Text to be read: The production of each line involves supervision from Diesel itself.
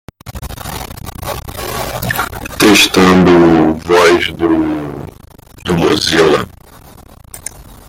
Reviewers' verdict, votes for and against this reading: rejected, 0, 2